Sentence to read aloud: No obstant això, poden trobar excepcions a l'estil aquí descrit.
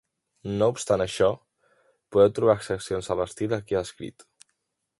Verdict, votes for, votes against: rejected, 0, 2